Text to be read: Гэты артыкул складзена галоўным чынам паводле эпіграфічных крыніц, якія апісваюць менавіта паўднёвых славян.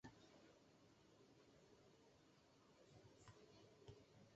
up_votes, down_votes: 0, 2